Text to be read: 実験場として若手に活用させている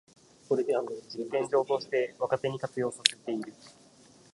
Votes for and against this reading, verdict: 2, 3, rejected